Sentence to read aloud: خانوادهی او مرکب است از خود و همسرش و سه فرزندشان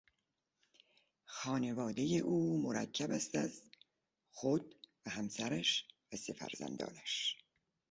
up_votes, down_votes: 2, 0